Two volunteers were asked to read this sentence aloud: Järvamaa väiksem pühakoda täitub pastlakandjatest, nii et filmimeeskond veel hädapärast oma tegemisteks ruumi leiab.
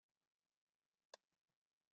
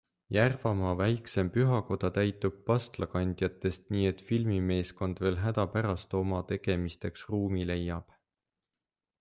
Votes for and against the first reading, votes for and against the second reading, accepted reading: 0, 2, 2, 0, second